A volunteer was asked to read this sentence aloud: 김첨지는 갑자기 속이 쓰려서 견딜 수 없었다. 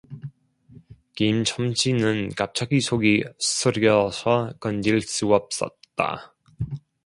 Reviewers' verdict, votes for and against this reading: accepted, 2, 1